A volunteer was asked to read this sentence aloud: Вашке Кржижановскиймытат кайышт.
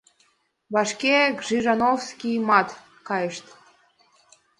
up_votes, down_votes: 2, 0